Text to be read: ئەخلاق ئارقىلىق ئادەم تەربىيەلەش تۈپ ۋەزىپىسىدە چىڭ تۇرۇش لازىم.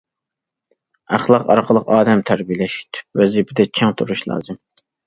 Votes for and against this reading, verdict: 1, 2, rejected